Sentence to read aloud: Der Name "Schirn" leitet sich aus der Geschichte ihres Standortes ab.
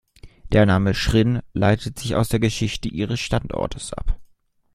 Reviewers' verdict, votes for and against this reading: rejected, 0, 2